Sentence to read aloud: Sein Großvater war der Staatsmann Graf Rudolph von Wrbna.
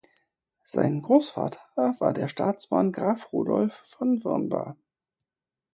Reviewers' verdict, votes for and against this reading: rejected, 0, 4